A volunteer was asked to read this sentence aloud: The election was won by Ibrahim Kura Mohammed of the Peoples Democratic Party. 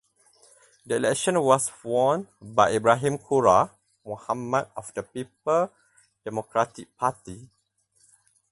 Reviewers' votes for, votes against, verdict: 0, 4, rejected